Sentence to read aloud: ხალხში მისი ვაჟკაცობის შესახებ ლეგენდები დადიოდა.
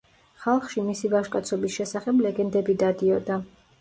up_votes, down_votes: 2, 0